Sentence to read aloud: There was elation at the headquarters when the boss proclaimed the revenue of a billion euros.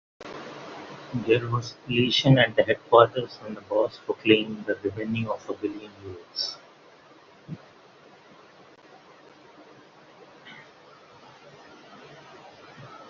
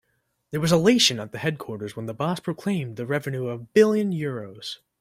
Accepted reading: second